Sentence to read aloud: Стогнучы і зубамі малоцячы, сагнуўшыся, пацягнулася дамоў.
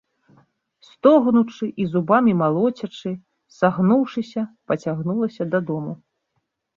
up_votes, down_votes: 1, 2